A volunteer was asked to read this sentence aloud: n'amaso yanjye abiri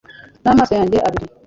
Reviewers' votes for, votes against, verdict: 2, 0, accepted